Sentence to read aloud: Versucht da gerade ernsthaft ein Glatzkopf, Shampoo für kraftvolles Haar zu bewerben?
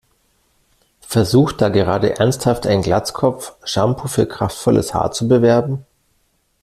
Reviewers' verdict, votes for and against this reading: accepted, 2, 0